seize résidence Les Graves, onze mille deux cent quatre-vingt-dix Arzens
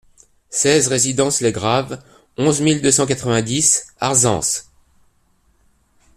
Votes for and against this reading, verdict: 2, 0, accepted